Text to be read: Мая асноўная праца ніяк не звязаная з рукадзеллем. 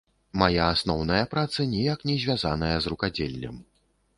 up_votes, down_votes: 2, 0